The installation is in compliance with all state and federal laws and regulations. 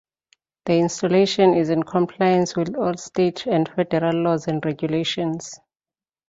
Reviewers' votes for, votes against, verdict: 2, 0, accepted